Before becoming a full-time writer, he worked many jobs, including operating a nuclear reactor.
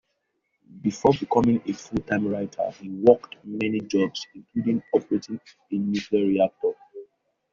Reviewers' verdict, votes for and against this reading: accepted, 2, 0